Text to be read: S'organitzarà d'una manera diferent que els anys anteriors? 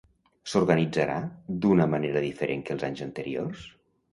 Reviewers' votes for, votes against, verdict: 2, 0, accepted